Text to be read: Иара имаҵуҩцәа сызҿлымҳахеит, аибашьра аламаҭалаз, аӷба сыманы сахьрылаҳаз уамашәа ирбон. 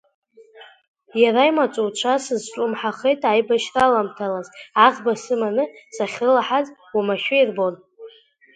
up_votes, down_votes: 0, 2